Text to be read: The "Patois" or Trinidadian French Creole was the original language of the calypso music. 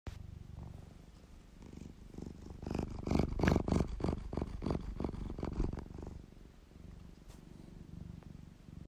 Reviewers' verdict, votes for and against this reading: rejected, 0, 2